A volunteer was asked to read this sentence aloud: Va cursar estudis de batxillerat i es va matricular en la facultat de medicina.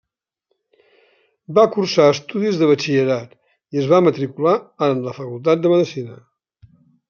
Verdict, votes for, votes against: accepted, 2, 0